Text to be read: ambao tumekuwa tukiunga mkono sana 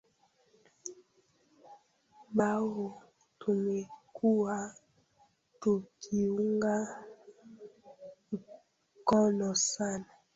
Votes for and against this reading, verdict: 0, 3, rejected